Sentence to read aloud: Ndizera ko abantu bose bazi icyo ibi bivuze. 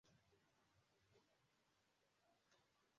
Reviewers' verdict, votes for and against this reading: rejected, 0, 2